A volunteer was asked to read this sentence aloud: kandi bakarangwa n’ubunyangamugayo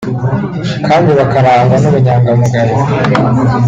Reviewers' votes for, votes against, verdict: 2, 1, accepted